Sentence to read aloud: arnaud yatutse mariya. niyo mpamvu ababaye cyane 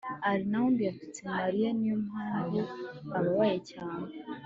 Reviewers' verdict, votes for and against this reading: accepted, 3, 1